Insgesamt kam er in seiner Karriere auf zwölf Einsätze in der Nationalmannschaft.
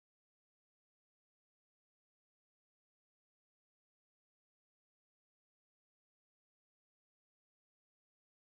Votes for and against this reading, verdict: 0, 4, rejected